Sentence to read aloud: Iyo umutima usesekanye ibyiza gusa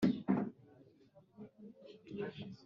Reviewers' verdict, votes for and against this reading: rejected, 1, 2